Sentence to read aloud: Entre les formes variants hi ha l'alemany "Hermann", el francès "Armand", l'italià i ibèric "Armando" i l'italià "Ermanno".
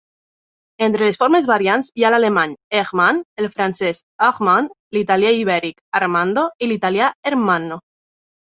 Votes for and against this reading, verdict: 2, 1, accepted